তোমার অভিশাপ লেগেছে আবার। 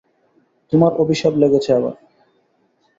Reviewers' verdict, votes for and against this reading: accepted, 2, 0